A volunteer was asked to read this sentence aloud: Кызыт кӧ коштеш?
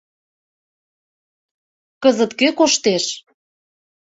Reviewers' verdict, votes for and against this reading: accepted, 2, 0